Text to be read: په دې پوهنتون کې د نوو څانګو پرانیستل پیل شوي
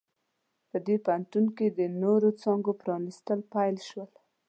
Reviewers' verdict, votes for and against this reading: rejected, 1, 2